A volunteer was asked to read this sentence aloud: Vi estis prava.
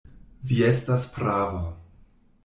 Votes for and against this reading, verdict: 0, 2, rejected